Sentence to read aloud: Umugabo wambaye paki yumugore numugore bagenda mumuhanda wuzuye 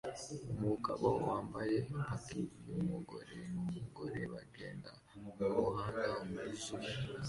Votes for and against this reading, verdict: 2, 1, accepted